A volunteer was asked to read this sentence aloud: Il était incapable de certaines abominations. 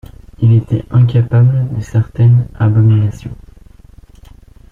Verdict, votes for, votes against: accepted, 2, 1